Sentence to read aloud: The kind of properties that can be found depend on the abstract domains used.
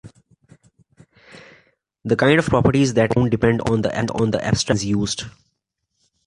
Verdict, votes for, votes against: rejected, 0, 2